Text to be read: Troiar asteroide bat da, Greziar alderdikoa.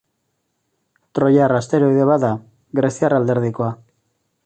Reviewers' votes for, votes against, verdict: 2, 0, accepted